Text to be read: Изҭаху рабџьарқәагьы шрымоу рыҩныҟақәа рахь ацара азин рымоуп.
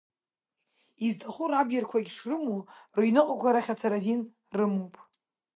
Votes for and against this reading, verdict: 1, 2, rejected